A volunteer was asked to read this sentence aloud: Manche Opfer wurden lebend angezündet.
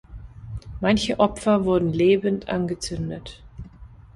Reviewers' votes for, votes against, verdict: 3, 0, accepted